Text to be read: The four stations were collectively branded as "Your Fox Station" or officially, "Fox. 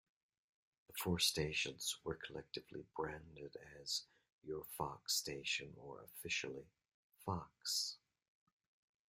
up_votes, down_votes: 1, 2